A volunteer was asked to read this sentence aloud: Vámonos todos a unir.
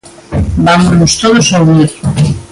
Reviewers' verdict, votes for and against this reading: rejected, 1, 2